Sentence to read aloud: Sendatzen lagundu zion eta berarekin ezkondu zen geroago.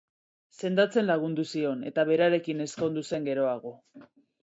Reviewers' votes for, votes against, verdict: 2, 0, accepted